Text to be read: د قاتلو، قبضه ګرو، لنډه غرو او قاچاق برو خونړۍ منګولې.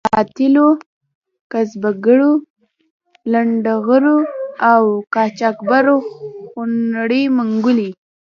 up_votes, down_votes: 2, 0